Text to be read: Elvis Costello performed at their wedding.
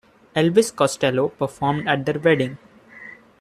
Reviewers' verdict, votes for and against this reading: accepted, 2, 0